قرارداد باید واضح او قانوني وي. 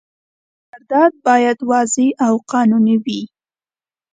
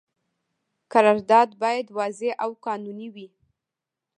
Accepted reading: first